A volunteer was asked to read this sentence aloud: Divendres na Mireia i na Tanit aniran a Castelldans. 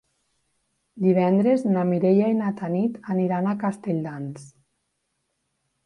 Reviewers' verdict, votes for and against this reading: accepted, 3, 0